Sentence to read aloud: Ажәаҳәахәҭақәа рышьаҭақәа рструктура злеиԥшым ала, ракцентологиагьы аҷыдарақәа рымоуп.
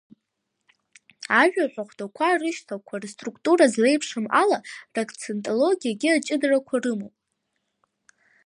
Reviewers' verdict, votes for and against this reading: rejected, 1, 2